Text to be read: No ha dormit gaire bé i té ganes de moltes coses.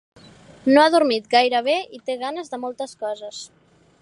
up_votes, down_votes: 3, 0